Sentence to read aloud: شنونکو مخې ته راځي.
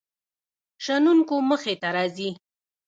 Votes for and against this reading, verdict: 1, 2, rejected